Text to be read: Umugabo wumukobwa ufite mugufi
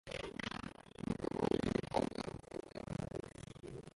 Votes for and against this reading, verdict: 0, 2, rejected